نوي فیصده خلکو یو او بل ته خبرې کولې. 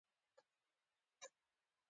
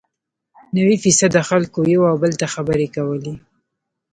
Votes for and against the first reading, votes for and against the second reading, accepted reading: 2, 0, 1, 2, first